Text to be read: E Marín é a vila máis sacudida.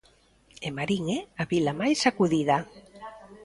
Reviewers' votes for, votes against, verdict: 0, 2, rejected